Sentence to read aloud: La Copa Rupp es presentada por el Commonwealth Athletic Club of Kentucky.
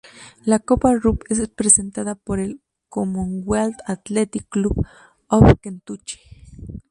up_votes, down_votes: 0, 2